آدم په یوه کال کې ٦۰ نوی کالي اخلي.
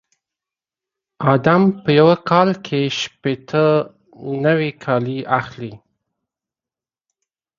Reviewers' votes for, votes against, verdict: 0, 2, rejected